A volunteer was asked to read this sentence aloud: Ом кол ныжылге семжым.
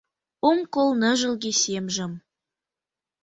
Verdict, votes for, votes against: rejected, 1, 2